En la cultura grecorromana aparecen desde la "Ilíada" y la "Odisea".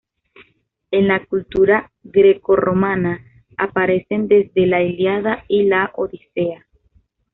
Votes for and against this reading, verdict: 2, 0, accepted